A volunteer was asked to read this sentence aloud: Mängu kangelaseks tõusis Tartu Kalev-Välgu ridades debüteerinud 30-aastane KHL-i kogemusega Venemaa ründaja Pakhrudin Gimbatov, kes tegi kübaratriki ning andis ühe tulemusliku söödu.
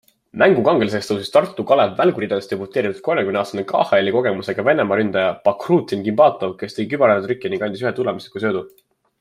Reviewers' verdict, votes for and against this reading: rejected, 0, 2